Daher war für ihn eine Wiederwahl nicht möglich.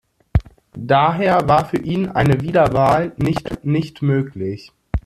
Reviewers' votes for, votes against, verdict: 0, 2, rejected